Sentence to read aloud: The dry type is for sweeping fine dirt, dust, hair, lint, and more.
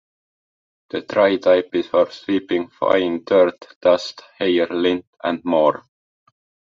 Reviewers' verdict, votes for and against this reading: accepted, 2, 0